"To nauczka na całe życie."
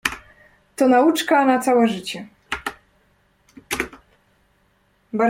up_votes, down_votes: 1, 2